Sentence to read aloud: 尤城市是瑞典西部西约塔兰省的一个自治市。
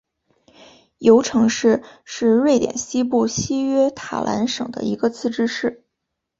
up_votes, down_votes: 2, 0